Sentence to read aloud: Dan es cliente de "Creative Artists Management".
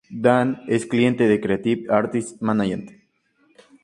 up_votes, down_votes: 2, 0